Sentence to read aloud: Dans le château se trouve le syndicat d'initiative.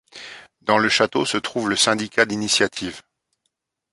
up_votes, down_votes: 2, 0